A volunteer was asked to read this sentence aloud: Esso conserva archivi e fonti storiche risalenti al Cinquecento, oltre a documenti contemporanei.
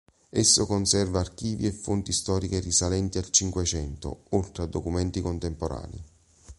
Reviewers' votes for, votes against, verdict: 4, 0, accepted